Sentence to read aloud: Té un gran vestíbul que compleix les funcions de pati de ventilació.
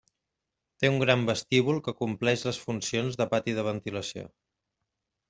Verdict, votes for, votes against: accepted, 3, 0